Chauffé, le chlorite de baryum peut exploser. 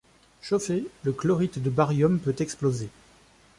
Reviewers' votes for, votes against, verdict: 2, 0, accepted